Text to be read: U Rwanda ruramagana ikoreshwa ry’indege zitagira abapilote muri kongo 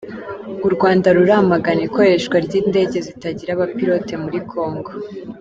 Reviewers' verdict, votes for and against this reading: accepted, 2, 0